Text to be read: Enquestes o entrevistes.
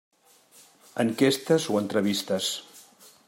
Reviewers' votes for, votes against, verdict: 3, 0, accepted